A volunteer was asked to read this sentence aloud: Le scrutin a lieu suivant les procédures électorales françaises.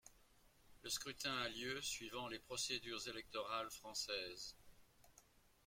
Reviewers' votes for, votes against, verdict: 2, 0, accepted